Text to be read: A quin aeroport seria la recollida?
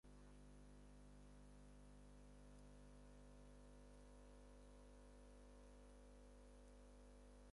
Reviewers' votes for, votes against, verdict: 0, 6, rejected